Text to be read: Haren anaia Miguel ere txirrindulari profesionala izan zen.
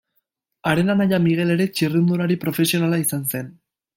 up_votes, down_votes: 2, 0